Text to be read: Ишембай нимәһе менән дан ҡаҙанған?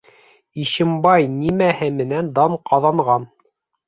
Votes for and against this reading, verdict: 3, 0, accepted